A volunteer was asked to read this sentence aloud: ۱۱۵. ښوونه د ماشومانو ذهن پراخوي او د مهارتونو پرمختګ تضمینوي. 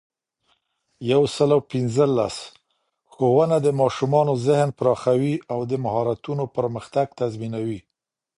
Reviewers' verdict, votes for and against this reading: rejected, 0, 2